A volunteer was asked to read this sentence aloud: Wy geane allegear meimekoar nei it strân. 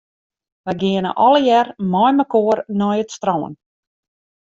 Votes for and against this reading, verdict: 2, 0, accepted